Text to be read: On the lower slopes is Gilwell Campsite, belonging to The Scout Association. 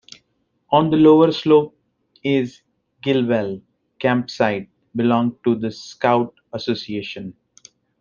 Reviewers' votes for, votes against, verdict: 0, 2, rejected